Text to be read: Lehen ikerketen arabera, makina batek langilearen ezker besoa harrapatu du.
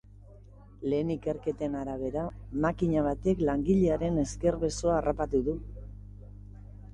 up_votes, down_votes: 2, 0